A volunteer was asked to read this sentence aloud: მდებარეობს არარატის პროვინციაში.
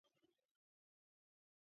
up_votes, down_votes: 0, 2